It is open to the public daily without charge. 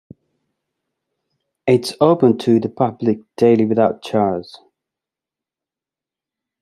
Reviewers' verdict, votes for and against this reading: rejected, 1, 2